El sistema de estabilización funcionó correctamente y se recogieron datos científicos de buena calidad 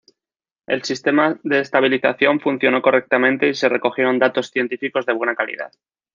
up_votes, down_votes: 2, 0